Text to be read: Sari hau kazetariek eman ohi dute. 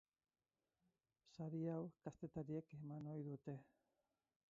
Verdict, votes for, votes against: rejected, 0, 4